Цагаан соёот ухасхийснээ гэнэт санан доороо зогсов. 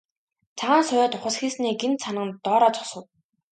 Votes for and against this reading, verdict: 3, 0, accepted